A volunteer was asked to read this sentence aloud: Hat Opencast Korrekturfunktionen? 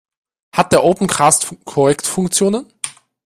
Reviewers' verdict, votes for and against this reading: rejected, 0, 2